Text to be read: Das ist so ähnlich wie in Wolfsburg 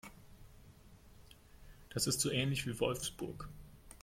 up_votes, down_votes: 0, 2